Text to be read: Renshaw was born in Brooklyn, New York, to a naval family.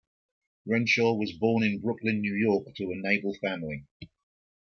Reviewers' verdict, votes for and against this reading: accepted, 2, 1